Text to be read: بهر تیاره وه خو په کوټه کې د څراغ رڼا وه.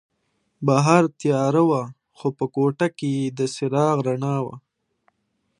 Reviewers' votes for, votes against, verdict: 2, 0, accepted